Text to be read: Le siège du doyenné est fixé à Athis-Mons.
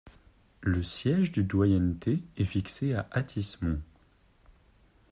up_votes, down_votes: 1, 2